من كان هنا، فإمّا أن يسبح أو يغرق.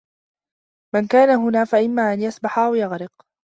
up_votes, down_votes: 2, 0